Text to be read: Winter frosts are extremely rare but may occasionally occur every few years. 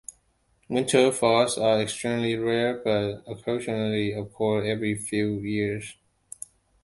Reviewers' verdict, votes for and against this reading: rejected, 1, 2